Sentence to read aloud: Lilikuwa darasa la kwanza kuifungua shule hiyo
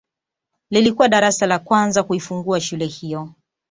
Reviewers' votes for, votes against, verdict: 2, 0, accepted